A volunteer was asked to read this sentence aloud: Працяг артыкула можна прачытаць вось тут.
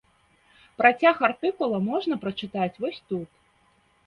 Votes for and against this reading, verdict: 2, 0, accepted